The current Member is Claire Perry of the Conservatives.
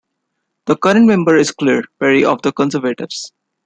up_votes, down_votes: 1, 2